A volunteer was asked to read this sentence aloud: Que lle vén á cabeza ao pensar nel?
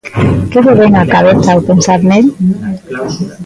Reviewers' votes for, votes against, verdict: 1, 2, rejected